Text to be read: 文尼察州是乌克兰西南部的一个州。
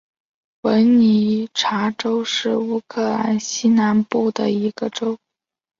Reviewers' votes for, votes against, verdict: 2, 0, accepted